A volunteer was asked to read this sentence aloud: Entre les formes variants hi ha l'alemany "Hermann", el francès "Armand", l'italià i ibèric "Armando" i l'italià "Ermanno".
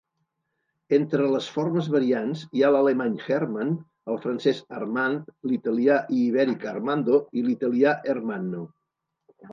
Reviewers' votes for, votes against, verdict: 1, 2, rejected